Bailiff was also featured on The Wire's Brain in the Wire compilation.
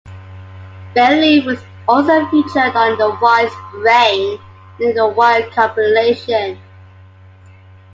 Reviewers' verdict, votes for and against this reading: accepted, 2, 1